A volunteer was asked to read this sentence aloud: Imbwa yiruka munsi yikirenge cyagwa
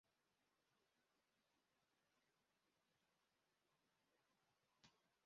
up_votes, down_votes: 0, 2